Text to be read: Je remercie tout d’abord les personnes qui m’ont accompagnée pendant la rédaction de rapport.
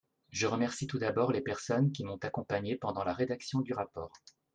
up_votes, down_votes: 1, 2